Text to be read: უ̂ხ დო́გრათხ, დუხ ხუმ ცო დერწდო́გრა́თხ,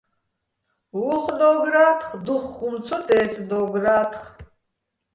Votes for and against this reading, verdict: 1, 2, rejected